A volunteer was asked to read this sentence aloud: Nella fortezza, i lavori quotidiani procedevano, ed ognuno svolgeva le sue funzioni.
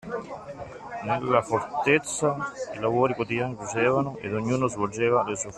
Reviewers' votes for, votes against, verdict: 1, 2, rejected